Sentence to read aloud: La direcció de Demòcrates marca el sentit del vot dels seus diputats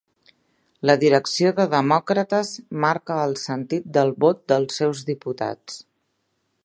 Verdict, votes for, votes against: accepted, 3, 0